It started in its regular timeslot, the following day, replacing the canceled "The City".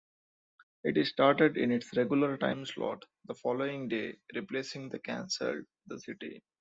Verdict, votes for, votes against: rejected, 1, 2